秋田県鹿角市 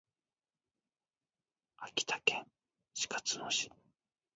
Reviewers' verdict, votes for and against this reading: rejected, 1, 2